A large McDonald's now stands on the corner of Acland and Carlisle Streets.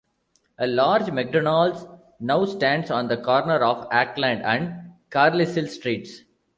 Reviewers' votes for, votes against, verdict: 0, 2, rejected